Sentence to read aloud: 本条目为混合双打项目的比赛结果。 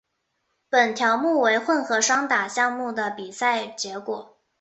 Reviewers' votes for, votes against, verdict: 2, 0, accepted